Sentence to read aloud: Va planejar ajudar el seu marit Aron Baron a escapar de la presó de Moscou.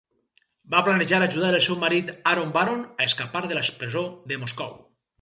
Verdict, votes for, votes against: rejected, 0, 4